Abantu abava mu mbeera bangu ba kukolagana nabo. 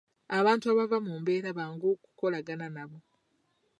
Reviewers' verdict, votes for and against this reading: rejected, 0, 2